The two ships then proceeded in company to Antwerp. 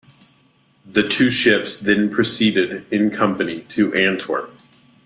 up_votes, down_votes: 2, 0